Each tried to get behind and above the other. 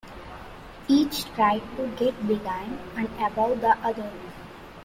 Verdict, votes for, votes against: rejected, 1, 2